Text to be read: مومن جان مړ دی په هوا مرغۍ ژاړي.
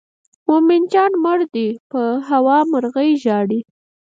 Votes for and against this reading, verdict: 2, 4, rejected